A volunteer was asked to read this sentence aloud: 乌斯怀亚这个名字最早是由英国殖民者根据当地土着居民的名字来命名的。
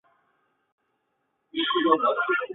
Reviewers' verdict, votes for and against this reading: accepted, 2, 0